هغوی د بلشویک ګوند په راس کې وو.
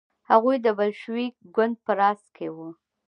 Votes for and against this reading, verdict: 2, 0, accepted